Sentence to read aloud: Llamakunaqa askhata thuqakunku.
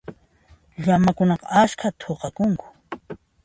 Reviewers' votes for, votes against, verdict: 2, 0, accepted